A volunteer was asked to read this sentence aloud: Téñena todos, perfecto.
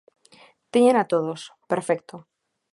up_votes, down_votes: 2, 0